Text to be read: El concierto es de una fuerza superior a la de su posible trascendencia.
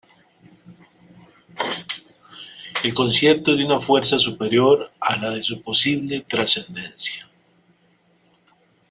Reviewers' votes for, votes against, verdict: 2, 0, accepted